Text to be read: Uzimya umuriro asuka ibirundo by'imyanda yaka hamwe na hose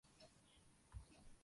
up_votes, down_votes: 0, 2